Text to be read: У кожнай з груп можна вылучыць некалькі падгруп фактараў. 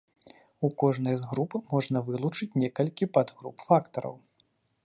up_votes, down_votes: 2, 0